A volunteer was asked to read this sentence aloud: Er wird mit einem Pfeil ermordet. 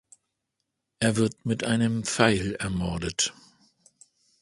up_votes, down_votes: 2, 0